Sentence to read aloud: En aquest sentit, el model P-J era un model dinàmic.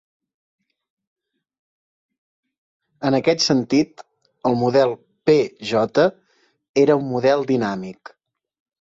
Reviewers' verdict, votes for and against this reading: accepted, 4, 0